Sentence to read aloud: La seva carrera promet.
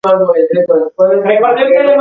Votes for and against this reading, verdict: 0, 2, rejected